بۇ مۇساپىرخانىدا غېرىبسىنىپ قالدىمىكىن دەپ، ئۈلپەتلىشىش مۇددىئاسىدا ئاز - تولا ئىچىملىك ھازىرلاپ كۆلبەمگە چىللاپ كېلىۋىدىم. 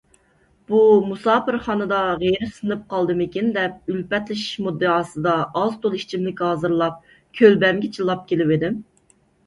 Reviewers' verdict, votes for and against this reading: accepted, 2, 0